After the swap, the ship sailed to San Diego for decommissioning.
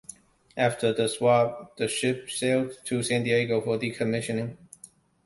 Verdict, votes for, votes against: accepted, 2, 0